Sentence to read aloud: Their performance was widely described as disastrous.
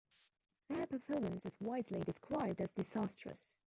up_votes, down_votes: 1, 2